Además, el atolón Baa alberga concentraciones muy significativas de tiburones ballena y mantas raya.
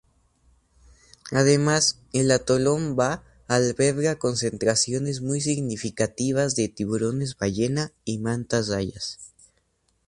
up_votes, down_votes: 2, 0